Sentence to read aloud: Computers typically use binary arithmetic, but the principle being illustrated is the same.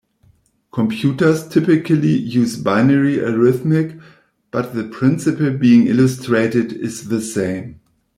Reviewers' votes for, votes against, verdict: 0, 2, rejected